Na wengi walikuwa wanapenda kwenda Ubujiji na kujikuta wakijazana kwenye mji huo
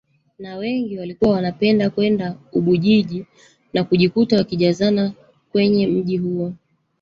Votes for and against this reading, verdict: 1, 2, rejected